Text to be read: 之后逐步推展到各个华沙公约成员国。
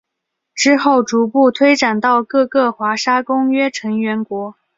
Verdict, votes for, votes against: accepted, 3, 0